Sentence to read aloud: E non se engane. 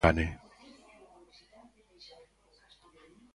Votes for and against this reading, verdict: 0, 2, rejected